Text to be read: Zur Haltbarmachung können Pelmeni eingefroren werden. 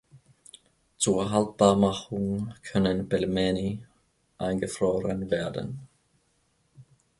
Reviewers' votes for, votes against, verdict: 2, 1, accepted